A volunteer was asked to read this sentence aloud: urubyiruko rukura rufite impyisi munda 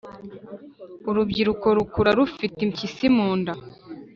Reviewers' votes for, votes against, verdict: 2, 0, accepted